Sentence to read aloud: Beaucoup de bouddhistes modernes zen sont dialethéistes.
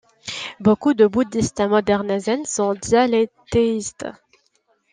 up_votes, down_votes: 2, 0